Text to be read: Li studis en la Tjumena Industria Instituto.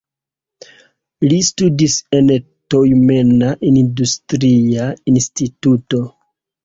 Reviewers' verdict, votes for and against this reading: rejected, 1, 2